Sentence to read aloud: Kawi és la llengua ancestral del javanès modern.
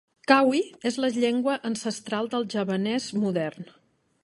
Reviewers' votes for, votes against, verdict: 2, 0, accepted